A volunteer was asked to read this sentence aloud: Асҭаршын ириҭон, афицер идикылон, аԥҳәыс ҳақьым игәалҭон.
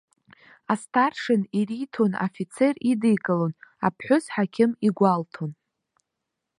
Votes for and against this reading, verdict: 2, 3, rejected